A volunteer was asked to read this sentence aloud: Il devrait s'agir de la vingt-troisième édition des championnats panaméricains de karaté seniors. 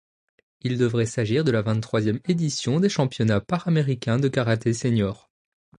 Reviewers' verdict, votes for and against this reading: accepted, 2, 1